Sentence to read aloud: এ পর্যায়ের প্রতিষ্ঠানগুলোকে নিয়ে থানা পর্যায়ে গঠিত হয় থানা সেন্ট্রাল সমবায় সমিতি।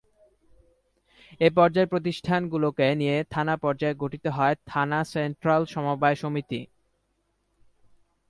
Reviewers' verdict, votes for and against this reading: accepted, 2, 0